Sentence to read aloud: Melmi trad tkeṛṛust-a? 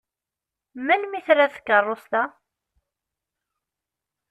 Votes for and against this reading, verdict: 2, 0, accepted